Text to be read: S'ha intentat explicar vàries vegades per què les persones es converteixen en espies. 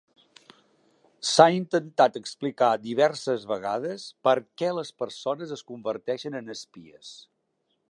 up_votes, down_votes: 0, 2